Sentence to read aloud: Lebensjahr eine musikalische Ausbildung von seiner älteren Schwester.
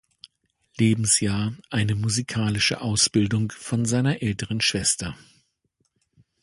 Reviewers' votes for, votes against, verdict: 2, 0, accepted